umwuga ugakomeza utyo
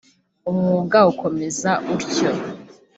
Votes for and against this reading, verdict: 1, 2, rejected